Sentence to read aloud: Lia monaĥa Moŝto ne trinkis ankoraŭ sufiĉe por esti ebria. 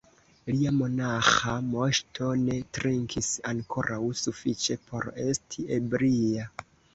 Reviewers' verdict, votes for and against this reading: accepted, 2, 1